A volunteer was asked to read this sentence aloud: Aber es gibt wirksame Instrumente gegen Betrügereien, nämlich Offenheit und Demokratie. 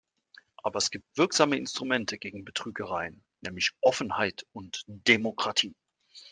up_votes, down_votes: 2, 0